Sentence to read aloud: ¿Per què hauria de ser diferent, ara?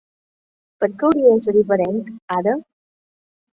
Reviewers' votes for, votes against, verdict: 8, 1, accepted